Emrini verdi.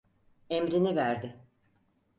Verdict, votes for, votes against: accepted, 4, 0